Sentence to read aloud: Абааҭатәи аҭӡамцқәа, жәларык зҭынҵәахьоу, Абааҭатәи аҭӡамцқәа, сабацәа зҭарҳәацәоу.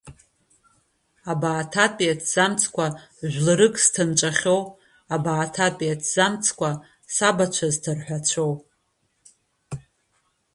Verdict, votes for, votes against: rejected, 1, 2